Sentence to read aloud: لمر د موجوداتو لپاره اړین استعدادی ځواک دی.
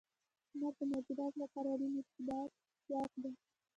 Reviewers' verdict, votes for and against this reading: rejected, 0, 2